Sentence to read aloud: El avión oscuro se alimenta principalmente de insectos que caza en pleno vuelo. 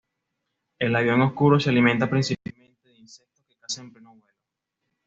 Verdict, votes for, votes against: rejected, 1, 2